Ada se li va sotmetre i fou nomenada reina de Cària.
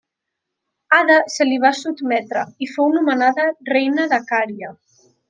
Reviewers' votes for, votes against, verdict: 2, 0, accepted